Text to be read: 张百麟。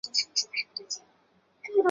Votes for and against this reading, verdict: 0, 4, rejected